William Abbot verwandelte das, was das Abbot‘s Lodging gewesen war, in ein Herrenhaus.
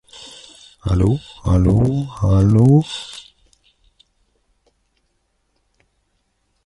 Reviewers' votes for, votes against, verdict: 0, 2, rejected